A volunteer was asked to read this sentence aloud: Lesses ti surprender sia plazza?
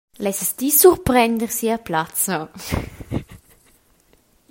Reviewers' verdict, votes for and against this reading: accepted, 2, 1